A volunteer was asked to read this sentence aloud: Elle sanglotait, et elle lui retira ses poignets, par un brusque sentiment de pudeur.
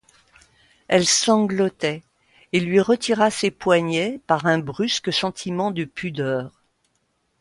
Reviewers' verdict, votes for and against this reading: rejected, 1, 2